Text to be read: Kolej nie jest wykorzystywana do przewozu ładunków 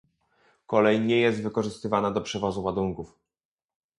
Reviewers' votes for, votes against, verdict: 2, 0, accepted